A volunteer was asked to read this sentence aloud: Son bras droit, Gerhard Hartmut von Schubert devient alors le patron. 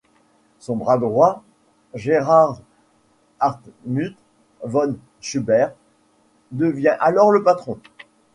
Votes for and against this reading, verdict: 2, 1, accepted